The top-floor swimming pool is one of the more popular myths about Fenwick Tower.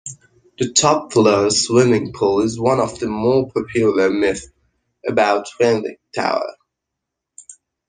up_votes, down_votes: 0, 2